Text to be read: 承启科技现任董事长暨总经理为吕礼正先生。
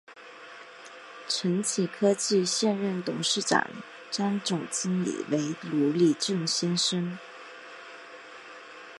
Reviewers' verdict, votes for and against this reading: accepted, 3, 1